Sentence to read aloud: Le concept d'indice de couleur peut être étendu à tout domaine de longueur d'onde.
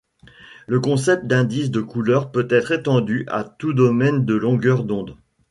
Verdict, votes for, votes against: rejected, 0, 2